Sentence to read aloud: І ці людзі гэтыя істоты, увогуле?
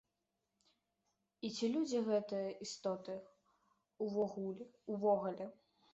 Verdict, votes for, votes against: rejected, 0, 2